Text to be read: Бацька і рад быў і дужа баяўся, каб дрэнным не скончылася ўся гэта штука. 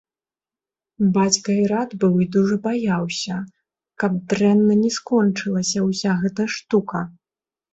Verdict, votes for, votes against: accepted, 2, 0